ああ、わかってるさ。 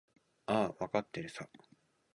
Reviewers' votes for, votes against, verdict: 2, 0, accepted